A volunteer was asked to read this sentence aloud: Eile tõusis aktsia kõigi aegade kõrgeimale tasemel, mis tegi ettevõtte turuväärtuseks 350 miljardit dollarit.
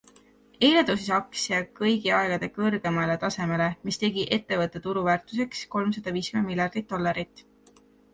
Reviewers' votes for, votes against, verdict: 0, 2, rejected